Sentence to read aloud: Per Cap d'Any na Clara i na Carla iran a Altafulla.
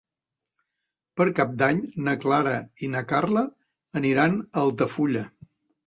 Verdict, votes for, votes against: rejected, 0, 2